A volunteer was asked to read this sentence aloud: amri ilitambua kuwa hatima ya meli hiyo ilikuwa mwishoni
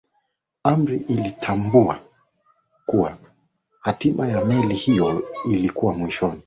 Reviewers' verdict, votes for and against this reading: accepted, 29, 1